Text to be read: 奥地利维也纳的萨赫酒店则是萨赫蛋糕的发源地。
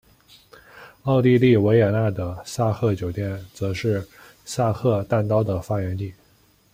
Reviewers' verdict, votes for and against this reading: accepted, 2, 0